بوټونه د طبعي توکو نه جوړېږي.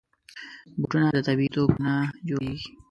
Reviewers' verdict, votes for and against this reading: rejected, 1, 3